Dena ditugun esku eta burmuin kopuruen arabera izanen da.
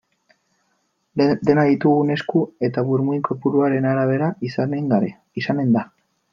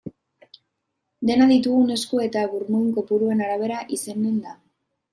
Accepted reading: second